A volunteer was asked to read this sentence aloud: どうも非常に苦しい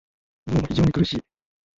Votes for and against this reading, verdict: 0, 2, rejected